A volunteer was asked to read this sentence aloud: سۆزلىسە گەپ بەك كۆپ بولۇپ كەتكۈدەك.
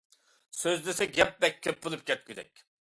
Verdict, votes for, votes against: accepted, 2, 0